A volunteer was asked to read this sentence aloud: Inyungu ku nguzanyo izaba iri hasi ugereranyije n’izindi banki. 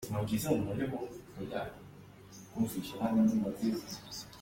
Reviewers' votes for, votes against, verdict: 0, 4, rejected